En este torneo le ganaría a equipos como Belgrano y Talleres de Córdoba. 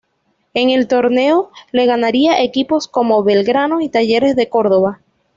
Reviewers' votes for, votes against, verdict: 1, 2, rejected